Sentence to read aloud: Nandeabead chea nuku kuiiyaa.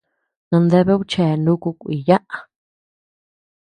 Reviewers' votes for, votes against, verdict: 1, 2, rejected